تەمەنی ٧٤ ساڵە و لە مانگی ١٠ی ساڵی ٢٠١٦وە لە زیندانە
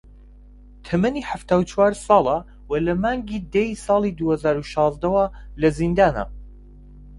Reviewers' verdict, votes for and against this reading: rejected, 0, 2